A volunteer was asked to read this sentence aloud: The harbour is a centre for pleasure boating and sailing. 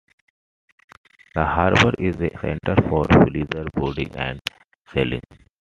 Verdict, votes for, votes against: rejected, 1, 2